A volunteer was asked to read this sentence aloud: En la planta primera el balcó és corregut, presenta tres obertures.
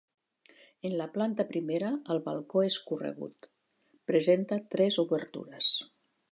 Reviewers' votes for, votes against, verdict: 3, 0, accepted